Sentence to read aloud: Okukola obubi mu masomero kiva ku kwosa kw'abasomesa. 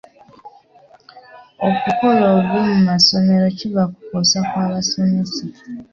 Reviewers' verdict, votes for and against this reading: rejected, 1, 2